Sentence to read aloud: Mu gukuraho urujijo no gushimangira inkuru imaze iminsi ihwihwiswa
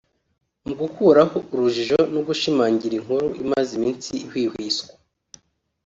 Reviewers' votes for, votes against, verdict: 2, 0, accepted